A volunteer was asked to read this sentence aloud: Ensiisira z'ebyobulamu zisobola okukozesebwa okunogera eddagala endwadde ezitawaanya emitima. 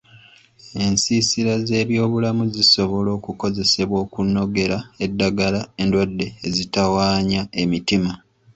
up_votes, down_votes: 2, 0